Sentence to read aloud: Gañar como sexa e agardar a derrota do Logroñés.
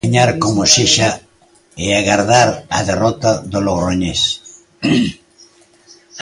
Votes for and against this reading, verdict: 2, 0, accepted